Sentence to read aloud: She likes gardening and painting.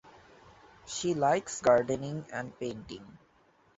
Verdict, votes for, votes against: accepted, 2, 0